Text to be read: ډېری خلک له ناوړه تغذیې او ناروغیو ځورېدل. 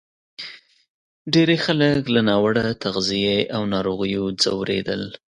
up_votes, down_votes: 2, 0